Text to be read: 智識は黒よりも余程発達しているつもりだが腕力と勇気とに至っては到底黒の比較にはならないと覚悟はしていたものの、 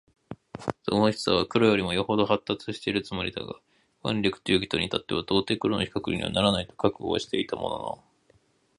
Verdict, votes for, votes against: rejected, 2, 2